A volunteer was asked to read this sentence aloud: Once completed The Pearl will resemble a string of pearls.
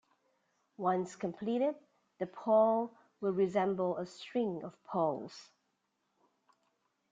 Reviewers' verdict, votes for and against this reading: rejected, 0, 2